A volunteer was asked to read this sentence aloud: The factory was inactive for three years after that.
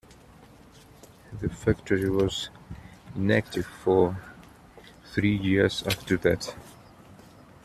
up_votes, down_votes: 2, 0